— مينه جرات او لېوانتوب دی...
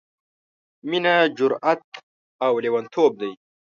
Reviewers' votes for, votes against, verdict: 3, 0, accepted